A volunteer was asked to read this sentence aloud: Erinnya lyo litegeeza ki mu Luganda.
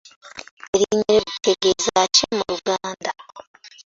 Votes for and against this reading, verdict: 1, 2, rejected